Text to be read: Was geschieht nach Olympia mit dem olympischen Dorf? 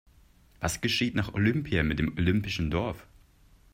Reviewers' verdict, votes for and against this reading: accepted, 2, 0